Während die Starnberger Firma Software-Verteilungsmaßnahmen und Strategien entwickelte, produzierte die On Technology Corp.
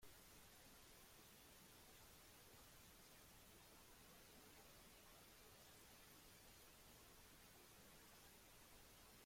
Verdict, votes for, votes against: rejected, 0, 2